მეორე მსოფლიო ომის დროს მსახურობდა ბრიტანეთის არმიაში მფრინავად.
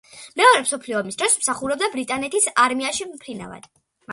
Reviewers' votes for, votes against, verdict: 2, 0, accepted